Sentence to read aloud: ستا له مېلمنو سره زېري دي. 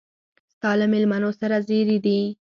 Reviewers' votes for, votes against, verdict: 4, 2, accepted